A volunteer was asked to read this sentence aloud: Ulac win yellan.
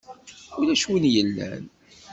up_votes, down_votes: 2, 0